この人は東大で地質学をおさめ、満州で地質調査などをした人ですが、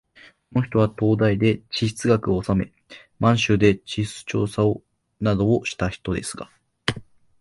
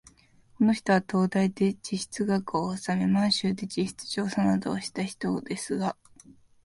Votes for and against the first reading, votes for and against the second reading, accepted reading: 1, 2, 2, 0, second